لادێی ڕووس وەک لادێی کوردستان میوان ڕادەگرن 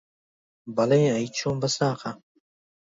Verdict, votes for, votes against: rejected, 0, 2